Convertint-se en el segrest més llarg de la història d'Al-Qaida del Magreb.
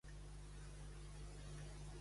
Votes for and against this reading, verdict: 1, 2, rejected